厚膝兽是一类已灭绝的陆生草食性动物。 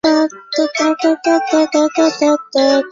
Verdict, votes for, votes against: rejected, 0, 2